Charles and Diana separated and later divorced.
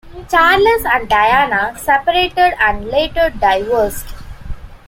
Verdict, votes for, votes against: accepted, 2, 0